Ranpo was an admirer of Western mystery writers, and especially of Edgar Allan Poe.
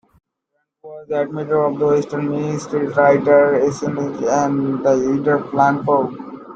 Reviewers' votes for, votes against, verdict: 0, 2, rejected